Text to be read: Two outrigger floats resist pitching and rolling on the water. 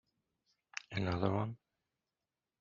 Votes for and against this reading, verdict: 0, 2, rejected